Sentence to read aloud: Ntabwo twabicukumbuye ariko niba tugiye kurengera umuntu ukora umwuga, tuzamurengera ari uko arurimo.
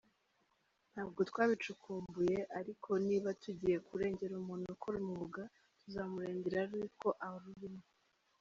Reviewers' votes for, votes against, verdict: 1, 2, rejected